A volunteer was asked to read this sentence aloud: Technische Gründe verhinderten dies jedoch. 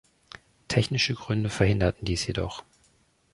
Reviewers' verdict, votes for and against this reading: accepted, 2, 0